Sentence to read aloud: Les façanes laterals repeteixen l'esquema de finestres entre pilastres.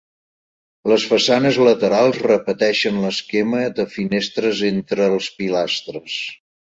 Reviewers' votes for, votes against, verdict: 1, 2, rejected